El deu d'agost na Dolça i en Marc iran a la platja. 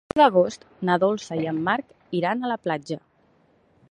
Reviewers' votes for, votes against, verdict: 1, 2, rejected